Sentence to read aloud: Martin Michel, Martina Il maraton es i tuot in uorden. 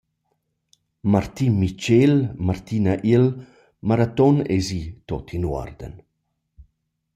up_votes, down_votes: 1, 2